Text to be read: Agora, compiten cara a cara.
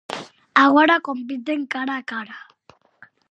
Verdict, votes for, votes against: accepted, 4, 0